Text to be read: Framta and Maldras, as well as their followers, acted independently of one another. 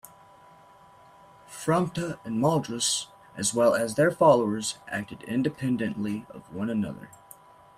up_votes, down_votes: 2, 1